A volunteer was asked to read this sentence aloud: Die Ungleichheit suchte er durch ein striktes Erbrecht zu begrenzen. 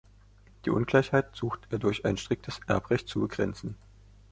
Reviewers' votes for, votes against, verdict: 2, 0, accepted